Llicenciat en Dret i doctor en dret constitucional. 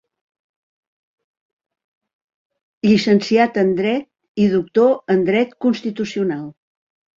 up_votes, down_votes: 2, 0